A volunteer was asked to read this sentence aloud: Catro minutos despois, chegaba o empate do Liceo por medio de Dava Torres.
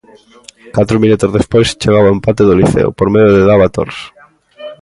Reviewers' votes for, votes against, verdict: 2, 0, accepted